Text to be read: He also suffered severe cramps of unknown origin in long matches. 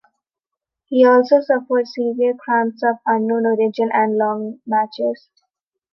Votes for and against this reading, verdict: 2, 0, accepted